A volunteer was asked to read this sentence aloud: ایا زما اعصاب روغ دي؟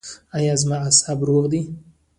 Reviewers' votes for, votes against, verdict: 1, 2, rejected